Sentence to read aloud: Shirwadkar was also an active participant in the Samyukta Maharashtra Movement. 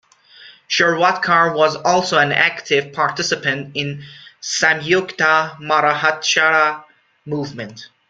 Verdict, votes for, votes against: rejected, 2, 3